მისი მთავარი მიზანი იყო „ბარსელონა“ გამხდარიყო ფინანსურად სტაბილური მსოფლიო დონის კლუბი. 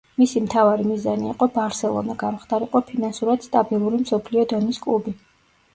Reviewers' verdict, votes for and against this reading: accepted, 2, 0